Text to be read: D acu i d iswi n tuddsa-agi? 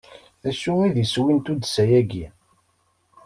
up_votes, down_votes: 2, 0